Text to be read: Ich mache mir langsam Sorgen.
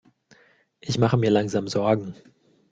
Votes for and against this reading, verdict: 2, 0, accepted